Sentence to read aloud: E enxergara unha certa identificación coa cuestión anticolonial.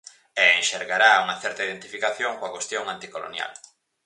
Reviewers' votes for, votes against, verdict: 0, 4, rejected